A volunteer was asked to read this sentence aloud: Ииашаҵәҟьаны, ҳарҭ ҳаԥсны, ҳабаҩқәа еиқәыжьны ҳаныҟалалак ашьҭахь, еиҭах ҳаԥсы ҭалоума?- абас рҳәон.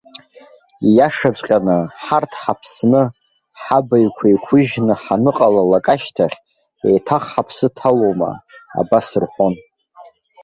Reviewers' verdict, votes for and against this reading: accepted, 2, 0